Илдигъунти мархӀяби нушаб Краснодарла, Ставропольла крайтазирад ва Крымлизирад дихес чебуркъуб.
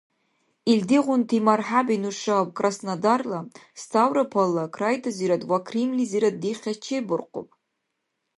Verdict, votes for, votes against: accepted, 2, 0